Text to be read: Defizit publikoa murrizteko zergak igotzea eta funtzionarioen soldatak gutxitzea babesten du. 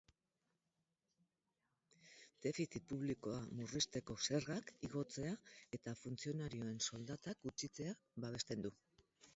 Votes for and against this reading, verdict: 0, 4, rejected